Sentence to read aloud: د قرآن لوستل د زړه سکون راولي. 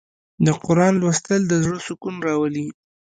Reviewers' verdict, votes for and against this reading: accepted, 2, 1